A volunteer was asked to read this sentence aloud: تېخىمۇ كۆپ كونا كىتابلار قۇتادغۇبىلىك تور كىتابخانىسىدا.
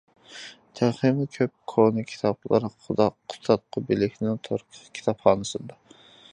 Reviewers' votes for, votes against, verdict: 0, 2, rejected